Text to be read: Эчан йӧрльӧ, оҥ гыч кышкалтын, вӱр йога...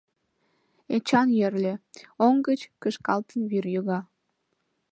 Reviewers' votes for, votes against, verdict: 3, 0, accepted